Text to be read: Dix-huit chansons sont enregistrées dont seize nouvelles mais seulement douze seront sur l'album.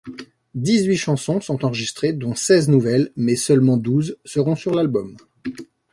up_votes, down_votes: 2, 0